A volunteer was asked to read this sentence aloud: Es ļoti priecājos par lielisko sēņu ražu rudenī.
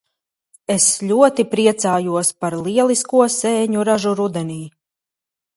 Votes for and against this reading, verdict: 0, 2, rejected